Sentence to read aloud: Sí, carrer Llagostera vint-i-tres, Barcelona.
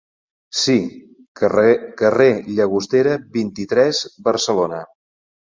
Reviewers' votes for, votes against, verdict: 0, 2, rejected